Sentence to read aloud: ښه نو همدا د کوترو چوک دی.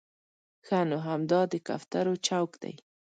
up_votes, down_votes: 2, 0